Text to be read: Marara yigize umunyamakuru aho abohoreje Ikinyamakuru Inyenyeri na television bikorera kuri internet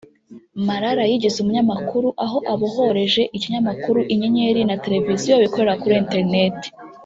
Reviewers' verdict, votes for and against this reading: accepted, 4, 0